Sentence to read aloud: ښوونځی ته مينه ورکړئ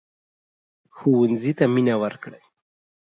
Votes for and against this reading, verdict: 4, 2, accepted